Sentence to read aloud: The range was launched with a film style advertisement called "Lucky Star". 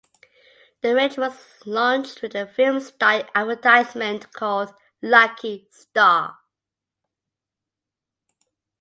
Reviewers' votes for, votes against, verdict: 2, 0, accepted